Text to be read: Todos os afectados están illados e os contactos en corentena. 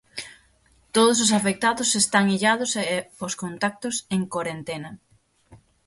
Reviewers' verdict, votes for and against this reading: rejected, 0, 6